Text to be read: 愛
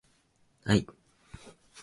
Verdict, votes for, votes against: accepted, 2, 0